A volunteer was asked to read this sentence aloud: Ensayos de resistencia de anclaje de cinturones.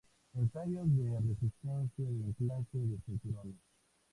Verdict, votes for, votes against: accepted, 2, 0